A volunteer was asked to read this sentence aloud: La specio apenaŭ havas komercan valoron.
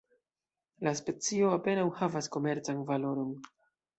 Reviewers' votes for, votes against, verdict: 2, 0, accepted